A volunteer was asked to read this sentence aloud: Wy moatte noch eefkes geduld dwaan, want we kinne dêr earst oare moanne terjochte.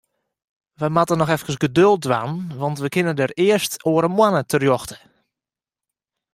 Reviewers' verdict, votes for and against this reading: rejected, 0, 2